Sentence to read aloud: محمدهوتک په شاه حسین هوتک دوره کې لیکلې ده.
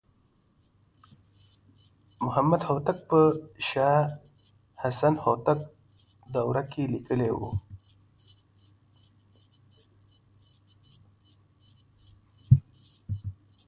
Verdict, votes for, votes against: rejected, 1, 2